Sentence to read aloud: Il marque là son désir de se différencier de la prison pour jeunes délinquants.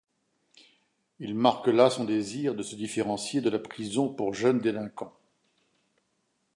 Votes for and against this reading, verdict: 2, 0, accepted